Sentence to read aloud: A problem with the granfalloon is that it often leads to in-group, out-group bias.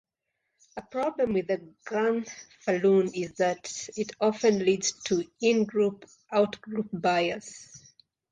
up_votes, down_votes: 1, 2